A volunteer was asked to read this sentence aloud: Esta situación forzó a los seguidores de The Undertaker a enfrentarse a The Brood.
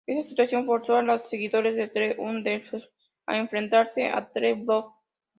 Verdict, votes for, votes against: rejected, 0, 2